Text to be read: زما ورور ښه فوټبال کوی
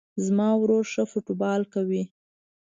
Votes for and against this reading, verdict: 2, 0, accepted